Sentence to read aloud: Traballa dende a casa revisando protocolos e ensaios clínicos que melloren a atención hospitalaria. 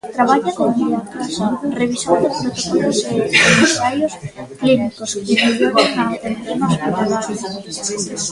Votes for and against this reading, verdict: 1, 2, rejected